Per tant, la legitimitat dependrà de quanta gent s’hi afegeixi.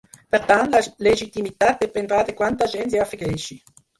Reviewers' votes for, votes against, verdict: 0, 4, rejected